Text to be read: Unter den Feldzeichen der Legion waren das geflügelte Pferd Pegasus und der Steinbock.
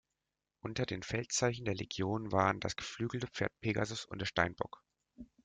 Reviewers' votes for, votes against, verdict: 2, 0, accepted